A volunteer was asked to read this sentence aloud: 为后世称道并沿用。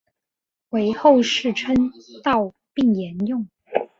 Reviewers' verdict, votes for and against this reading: accepted, 4, 0